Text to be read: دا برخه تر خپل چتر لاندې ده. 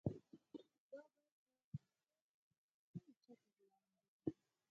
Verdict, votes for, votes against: rejected, 0, 4